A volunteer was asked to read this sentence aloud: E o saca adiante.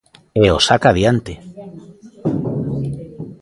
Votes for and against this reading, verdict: 0, 2, rejected